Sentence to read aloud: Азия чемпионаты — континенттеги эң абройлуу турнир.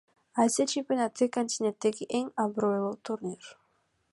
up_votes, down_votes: 2, 0